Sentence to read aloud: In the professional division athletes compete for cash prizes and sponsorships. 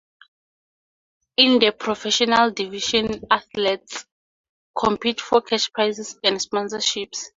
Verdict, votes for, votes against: accepted, 2, 0